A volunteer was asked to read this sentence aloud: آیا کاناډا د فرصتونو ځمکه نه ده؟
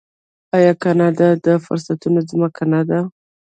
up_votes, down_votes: 1, 2